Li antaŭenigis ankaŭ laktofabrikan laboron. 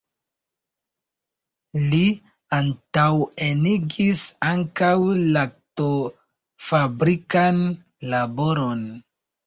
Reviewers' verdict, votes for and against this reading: rejected, 1, 2